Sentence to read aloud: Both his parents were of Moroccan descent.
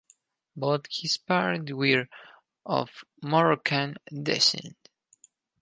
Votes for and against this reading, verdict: 4, 0, accepted